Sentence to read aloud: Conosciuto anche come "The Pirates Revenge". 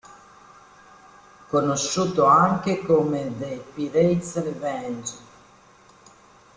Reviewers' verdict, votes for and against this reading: rejected, 0, 2